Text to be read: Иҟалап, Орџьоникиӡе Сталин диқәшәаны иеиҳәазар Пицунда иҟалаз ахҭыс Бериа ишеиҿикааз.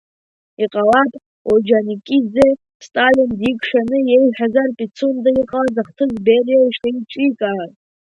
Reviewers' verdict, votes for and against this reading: accepted, 2, 1